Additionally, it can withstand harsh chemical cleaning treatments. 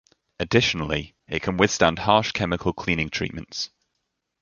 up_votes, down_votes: 2, 0